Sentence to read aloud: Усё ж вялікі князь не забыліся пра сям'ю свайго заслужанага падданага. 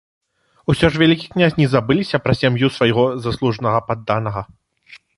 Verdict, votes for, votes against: accepted, 3, 0